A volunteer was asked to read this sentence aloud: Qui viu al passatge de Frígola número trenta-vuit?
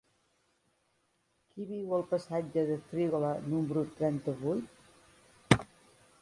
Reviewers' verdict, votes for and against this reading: accepted, 3, 0